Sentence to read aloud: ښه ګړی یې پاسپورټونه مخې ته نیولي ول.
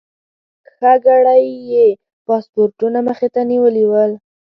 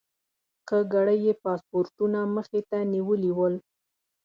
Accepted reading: second